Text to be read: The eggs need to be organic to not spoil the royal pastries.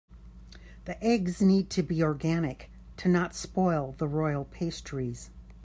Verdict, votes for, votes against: accepted, 2, 0